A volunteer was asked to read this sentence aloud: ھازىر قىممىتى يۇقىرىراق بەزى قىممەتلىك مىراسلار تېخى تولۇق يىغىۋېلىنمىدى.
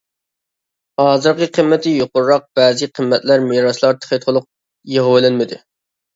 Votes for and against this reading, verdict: 0, 2, rejected